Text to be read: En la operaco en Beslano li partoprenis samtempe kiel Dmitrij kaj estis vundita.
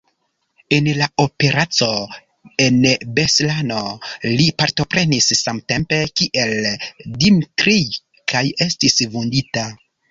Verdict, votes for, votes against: rejected, 0, 2